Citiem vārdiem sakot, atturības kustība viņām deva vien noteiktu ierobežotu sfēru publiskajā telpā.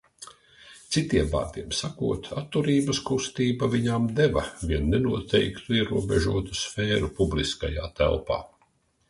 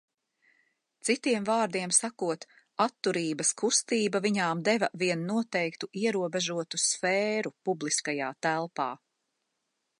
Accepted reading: second